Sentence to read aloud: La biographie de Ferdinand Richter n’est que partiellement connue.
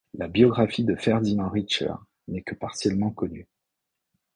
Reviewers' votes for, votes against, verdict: 1, 2, rejected